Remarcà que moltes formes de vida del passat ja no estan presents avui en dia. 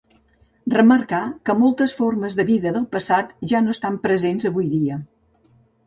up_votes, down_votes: 0, 2